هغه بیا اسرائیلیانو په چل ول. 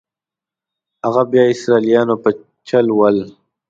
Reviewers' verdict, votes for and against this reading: accepted, 2, 0